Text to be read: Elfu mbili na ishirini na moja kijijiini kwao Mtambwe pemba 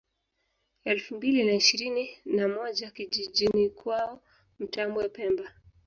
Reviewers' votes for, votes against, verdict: 2, 3, rejected